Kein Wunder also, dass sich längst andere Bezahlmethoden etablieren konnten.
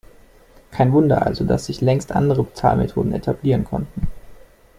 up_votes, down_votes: 2, 0